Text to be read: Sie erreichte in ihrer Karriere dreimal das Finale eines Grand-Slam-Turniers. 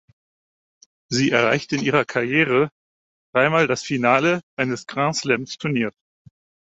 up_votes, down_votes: 4, 0